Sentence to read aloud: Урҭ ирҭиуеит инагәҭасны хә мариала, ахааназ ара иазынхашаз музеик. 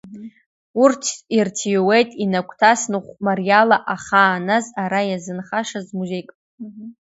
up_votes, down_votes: 1, 2